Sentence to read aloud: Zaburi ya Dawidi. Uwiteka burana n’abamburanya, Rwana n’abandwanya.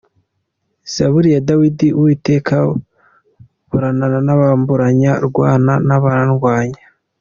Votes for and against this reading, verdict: 2, 0, accepted